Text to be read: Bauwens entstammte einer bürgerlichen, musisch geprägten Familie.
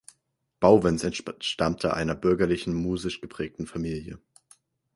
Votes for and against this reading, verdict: 2, 4, rejected